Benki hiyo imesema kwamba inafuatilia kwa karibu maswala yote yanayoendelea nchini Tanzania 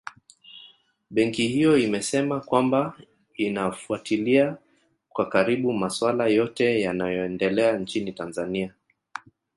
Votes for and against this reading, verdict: 2, 1, accepted